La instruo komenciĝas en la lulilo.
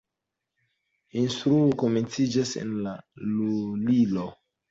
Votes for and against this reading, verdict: 2, 0, accepted